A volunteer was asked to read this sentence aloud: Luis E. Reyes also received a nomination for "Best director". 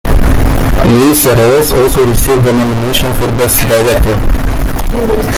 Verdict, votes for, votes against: rejected, 1, 2